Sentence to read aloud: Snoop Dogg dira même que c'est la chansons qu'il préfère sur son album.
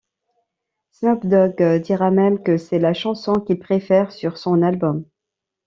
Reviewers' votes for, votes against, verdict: 2, 0, accepted